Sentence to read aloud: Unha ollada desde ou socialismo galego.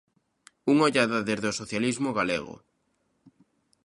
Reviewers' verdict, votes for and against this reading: rejected, 0, 2